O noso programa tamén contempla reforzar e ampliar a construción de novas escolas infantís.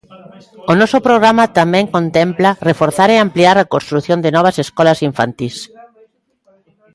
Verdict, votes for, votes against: rejected, 1, 2